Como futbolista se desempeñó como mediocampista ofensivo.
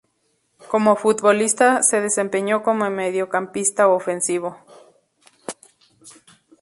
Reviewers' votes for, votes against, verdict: 2, 0, accepted